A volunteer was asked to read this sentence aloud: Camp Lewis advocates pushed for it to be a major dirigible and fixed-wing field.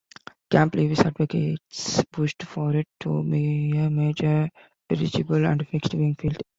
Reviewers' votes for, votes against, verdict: 1, 2, rejected